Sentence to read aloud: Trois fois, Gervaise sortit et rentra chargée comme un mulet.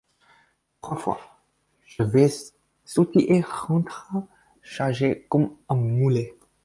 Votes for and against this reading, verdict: 0, 4, rejected